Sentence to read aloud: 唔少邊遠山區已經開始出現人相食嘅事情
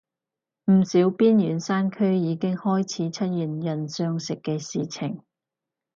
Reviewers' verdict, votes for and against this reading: accepted, 4, 0